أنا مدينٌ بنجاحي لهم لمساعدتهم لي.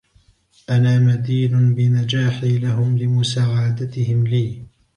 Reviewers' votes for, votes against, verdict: 0, 2, rejected